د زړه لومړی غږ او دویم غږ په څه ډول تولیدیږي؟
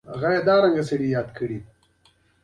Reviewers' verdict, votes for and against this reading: accepted, 2, 0